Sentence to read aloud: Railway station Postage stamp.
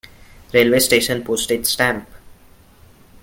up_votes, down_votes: 0, 2